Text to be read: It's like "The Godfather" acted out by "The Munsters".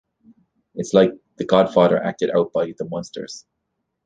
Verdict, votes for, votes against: accepted, 2, 0